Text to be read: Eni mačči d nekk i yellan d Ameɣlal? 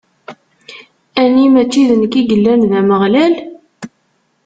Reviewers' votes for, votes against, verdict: 1, 2, rejected